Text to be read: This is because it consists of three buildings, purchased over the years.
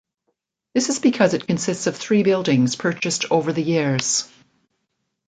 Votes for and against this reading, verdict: 2, 0, accepted